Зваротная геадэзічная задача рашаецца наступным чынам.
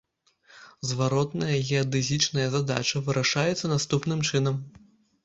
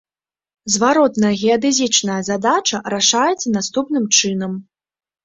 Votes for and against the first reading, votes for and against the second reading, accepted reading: 0, 2, 2, 1, second